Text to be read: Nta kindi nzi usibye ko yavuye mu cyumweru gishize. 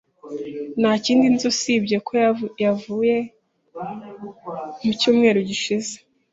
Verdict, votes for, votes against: rejected, 0, 2